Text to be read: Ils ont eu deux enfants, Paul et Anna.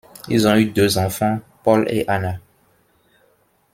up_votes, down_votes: 2, 0